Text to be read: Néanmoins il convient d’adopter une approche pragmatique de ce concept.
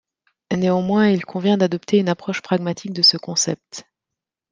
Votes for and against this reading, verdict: 2, 0, accepted